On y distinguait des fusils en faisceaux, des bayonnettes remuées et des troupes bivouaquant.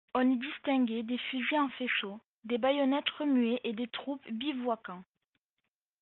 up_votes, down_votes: 1, 2